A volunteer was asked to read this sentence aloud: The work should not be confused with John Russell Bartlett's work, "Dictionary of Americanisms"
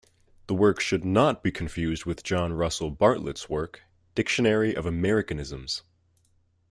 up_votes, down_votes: 2, 0